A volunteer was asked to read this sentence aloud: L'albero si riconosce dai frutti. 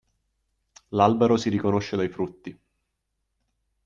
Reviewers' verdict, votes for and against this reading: accepted, 2, 0